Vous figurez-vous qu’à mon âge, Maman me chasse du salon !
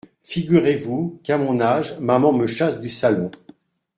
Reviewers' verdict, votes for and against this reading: rejected, 0, 2